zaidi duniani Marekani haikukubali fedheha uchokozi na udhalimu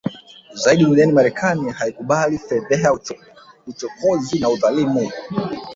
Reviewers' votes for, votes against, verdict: 0, 2, rejected